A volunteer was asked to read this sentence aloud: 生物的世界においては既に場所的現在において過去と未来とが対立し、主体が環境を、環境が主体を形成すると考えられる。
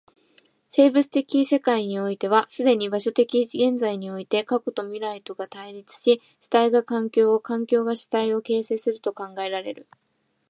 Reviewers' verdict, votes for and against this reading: accepted, 2, 0